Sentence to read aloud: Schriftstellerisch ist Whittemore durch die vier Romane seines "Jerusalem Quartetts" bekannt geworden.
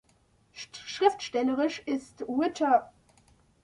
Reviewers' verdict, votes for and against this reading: rejected, 0, 2